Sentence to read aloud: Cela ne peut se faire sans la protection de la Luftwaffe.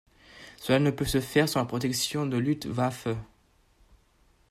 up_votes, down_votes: 1, 2